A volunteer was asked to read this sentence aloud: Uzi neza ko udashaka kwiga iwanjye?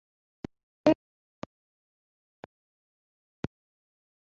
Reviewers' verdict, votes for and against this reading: rejected, 1, 2